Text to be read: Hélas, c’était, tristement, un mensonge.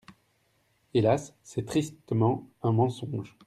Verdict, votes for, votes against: rejected, 1, 2